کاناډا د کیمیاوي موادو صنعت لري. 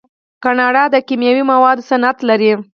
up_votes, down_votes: 6, 0